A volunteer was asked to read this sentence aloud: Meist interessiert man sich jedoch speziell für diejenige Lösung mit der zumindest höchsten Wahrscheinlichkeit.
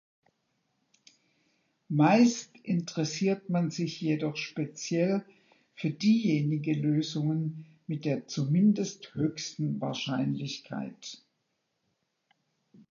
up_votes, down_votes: 0, 2